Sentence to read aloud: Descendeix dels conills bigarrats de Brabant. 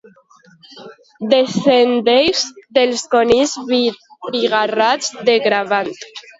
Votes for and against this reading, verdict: 1, 2, rejected